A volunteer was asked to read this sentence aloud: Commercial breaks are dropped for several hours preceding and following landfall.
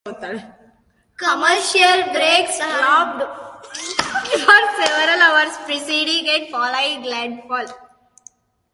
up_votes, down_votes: 0, 2